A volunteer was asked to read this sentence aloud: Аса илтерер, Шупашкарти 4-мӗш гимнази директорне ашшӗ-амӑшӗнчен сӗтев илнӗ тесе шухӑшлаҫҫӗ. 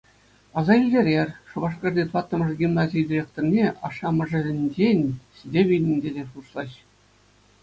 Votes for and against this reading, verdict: 0, 2, rejected